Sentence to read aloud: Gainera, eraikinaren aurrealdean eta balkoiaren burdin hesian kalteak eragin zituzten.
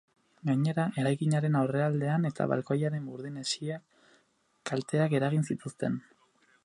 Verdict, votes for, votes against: accepted, 6, 2